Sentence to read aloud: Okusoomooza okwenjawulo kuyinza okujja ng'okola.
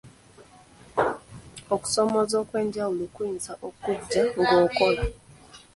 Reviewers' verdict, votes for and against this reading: rejected, 1, 2